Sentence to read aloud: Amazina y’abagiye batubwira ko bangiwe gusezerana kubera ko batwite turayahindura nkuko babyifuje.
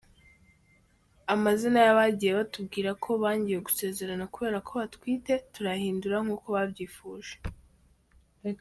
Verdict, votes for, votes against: accepted, 2, 0